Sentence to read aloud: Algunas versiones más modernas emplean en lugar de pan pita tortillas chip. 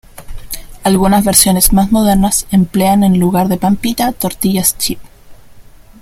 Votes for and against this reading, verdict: 2, 0, accepted